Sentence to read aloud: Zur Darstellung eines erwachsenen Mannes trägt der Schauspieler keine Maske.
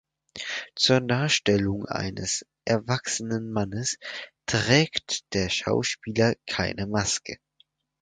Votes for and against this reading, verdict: 2, 4, rejected